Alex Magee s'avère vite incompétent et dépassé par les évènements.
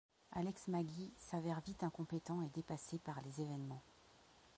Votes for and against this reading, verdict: 1, 2, rejected